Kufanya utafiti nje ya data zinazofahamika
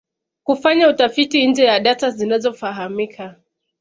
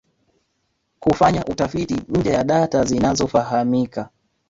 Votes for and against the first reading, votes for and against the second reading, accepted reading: 2, 0, 0, 2, first